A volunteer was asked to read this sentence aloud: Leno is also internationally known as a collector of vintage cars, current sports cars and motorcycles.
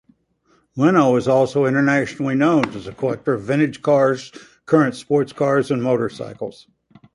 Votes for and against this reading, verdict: 2, 0, accepted